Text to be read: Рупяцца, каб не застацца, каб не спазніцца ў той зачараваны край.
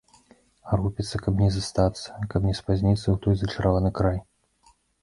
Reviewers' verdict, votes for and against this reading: rejected, 1, 2